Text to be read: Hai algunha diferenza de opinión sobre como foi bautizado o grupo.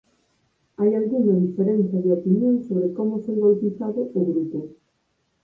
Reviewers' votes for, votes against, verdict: 4, 0, accepted